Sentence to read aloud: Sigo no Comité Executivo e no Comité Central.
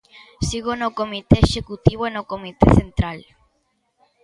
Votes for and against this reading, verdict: 2, 0, accepted